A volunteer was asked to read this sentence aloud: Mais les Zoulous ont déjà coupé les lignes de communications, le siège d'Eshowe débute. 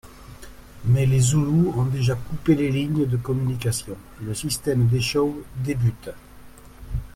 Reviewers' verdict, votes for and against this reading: rejected, 0, 2